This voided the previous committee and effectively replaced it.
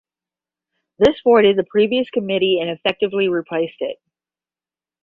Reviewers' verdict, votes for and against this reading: accepted, 10, 5